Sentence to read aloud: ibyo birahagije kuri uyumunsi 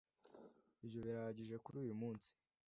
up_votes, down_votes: 2, 0